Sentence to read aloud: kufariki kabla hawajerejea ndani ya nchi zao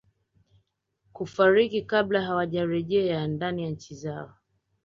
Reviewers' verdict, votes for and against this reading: accepted, 2, 0